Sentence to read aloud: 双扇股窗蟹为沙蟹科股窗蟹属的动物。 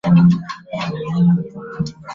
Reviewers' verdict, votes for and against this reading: rejected, 1, 3